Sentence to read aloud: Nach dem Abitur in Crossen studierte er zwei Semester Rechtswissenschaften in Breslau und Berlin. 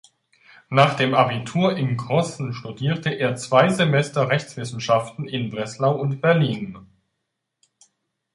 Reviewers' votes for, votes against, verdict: 2, 0, accepted